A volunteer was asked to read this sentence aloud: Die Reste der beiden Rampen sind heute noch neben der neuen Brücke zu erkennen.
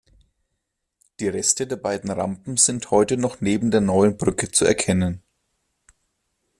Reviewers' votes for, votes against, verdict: 2, 0, accepted